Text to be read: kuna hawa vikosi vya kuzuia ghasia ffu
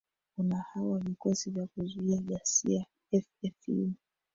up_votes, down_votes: 1, 2